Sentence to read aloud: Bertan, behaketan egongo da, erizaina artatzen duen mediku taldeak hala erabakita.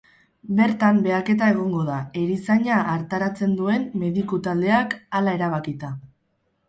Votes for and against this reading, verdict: 2, 2, rejected